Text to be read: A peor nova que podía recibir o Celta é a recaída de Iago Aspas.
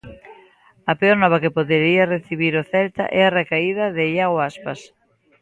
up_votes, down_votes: 0, 2